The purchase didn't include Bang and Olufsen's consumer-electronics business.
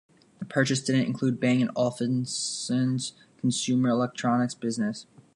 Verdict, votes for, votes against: rejected, 0, 2